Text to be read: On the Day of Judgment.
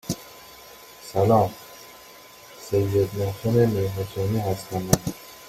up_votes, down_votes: 0, 2